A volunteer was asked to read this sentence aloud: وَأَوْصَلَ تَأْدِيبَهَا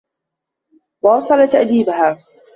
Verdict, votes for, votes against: accepted, 2, 1